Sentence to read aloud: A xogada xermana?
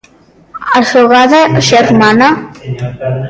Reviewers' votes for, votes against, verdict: 1, 2, rejected